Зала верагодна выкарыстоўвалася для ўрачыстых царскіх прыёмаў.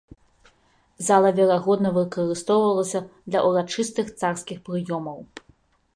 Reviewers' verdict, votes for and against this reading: rejected, 0, 2